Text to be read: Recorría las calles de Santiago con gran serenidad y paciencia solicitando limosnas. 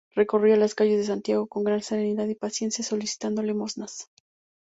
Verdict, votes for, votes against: accepted, 2, 0